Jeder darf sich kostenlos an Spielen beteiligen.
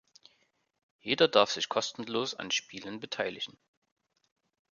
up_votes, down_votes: 2, 0